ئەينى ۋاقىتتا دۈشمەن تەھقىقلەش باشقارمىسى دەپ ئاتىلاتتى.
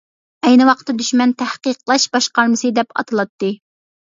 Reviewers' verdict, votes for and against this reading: accepted, 2, 1